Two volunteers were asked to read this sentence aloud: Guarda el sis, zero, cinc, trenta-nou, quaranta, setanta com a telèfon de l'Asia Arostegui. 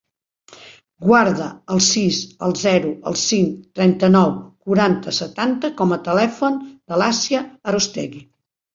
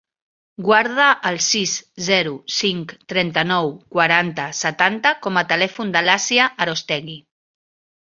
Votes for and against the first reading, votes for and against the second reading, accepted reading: 0, 2, 3, 0, second